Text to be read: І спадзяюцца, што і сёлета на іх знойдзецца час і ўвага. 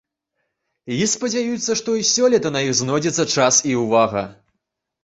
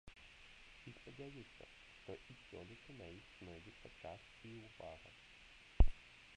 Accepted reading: first